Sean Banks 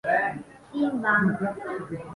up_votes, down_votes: 1, 2